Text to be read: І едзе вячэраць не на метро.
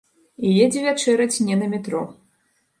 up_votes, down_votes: 2, 0